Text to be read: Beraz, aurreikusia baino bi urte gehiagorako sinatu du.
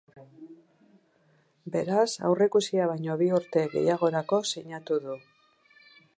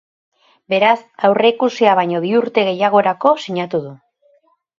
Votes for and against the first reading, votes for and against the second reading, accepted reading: 0, 2, 2, 0, second